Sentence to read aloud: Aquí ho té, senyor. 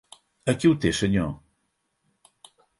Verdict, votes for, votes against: accepted, 10, 0